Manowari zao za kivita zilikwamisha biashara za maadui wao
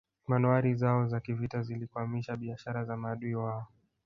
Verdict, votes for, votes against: rejected, 0, 2